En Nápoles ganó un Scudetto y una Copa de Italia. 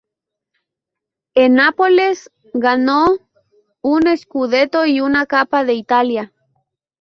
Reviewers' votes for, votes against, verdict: 0, 2, rejected